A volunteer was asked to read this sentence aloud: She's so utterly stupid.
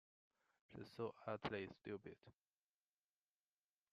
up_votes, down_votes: 0, 2